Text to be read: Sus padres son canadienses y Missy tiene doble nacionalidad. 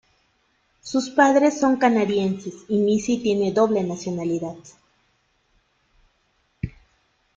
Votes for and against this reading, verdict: 2, 0, accepted